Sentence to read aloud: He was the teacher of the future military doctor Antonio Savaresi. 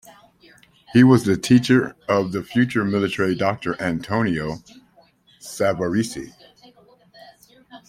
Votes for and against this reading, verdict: 2, 0, accepted